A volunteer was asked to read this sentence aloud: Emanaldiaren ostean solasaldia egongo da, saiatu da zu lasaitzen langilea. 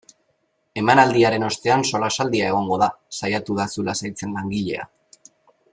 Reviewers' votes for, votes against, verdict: 2, 0, accepted